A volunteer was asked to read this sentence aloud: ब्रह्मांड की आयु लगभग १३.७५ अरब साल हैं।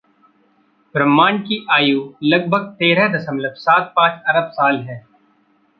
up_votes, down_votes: 0, 2